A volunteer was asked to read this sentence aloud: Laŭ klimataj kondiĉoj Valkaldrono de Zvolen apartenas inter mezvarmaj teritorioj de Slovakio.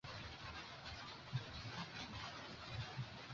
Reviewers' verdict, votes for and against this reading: accepted, 2, 0